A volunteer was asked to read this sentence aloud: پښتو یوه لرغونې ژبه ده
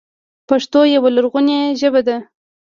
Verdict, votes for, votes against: rejected, 1, 2